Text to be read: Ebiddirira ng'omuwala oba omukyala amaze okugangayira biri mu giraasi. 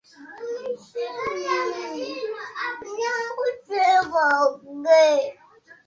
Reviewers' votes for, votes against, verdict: 0, 2, rejected